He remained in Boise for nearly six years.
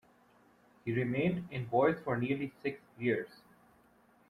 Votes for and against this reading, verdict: 1, 2, rejected